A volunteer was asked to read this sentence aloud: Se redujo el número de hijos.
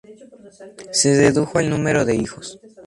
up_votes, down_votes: 2, 0